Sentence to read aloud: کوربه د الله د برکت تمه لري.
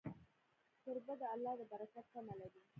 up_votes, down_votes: 0, 2